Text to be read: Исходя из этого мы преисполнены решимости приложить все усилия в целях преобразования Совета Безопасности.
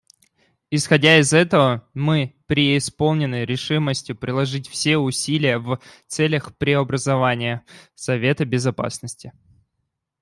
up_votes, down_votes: 2, 0